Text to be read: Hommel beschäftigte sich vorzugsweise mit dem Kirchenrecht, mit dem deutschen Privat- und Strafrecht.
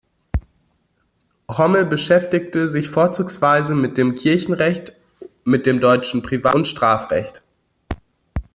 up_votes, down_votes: 0, 2